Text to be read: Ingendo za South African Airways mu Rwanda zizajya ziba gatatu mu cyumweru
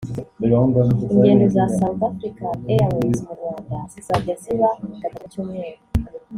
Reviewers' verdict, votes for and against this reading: accepted, 4, 0